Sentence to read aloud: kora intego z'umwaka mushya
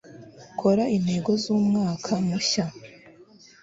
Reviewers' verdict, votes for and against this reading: accepted, 2, 0